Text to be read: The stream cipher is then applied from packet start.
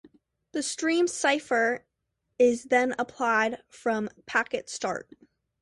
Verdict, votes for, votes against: accepted, 2, 0